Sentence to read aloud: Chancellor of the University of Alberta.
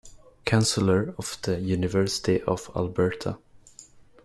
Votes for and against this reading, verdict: 1, 2, rejected